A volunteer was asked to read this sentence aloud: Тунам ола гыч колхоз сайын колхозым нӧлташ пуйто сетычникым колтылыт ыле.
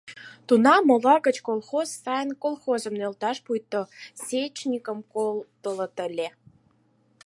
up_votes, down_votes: 2, 4